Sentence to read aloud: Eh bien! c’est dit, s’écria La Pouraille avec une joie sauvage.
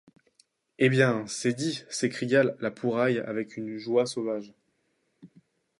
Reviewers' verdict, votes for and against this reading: rejected, 0, 2